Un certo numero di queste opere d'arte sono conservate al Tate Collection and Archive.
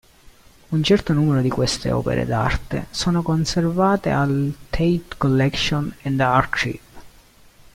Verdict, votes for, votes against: rejected, 1, 2